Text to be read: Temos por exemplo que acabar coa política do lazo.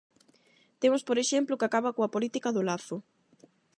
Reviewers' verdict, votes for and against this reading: accepted, 8, 0